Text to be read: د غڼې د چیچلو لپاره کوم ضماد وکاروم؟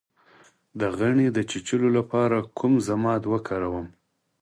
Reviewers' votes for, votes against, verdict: 4, 0, accepted